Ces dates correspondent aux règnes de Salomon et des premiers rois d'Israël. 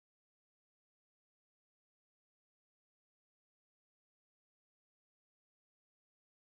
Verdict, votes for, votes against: rejected, 0, 2